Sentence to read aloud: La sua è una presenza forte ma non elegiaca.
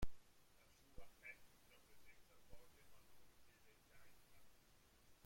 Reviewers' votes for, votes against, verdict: 0, 2, rejected